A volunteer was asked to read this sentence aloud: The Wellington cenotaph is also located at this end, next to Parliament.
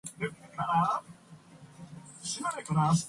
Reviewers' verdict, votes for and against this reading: rejected, 0, 2